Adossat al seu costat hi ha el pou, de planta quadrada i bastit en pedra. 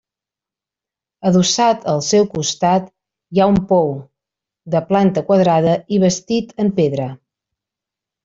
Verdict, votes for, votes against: rejected, 0, 2